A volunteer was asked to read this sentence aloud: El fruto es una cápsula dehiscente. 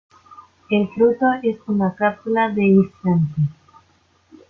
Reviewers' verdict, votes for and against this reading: rejected, 1, 2